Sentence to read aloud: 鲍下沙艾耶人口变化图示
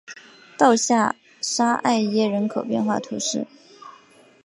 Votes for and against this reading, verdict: 2, 1, accepted